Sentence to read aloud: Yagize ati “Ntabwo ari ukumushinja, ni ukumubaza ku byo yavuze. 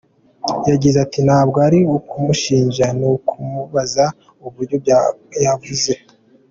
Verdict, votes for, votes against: accepted, 2, 1